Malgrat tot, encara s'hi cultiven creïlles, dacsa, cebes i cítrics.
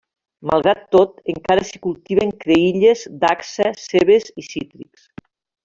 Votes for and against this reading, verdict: 0, 2, rejected